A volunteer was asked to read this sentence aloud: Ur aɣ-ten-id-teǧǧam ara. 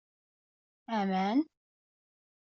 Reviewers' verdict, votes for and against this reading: rejected, 1, 2